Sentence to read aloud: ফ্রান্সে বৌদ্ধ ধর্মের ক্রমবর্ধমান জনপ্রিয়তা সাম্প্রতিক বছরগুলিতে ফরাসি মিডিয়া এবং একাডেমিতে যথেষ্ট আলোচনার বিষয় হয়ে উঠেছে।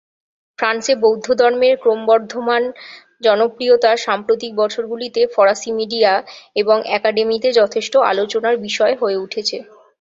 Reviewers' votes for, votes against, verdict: 4, 4, rejected